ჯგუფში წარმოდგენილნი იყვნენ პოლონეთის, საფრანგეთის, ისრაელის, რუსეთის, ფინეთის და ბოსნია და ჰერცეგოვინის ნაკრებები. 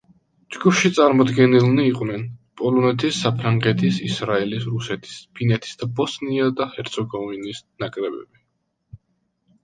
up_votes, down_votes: 2, 0